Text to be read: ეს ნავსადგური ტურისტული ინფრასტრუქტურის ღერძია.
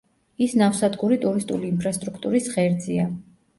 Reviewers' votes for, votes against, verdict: 0, 2, rejected